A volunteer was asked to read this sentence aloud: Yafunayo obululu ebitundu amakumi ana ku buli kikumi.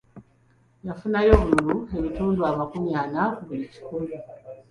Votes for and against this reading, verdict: 1, 2, rejected